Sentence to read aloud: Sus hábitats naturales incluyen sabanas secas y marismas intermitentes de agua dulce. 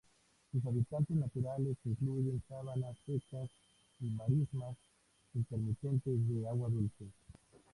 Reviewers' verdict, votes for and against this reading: rejected, 0, 2